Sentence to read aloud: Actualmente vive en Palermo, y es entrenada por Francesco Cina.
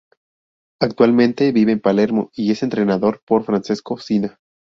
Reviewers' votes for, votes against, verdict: 0, 2, rejected